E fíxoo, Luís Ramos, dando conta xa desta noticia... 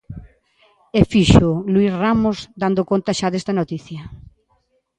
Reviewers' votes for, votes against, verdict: 2, 0, accepted